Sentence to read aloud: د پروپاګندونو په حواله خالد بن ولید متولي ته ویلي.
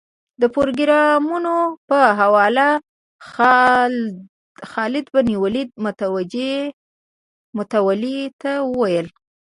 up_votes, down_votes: 1, 2